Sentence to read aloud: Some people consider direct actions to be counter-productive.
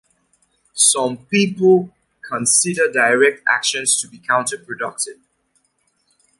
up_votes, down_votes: 2, 0